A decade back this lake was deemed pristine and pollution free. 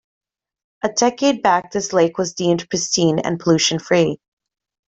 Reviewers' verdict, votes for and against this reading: accepted, 2, 0